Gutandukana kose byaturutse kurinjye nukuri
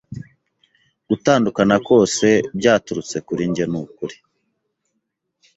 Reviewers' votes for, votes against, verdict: 2, 0, accepted